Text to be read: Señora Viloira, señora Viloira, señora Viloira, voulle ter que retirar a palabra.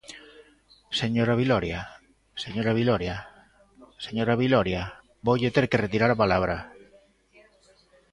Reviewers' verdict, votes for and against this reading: rejected, 1, 2